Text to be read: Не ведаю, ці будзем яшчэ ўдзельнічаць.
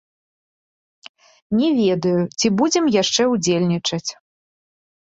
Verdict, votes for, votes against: accepted, 2, 0